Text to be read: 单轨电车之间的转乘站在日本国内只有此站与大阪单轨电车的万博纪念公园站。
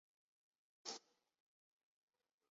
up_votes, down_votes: 5, 2